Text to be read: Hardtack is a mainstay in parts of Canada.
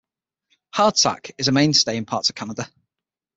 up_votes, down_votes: 6, 0